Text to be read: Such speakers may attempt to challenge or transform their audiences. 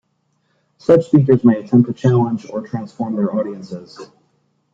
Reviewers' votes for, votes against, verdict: 2, 0, accepted